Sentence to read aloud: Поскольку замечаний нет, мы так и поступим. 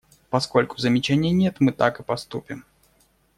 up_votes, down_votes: 2, 0